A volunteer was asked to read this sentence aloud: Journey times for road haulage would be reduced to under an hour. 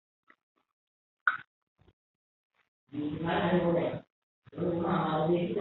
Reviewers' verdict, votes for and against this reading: rejected, 0, 2